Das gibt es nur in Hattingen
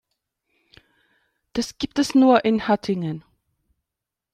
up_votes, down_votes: 2, 0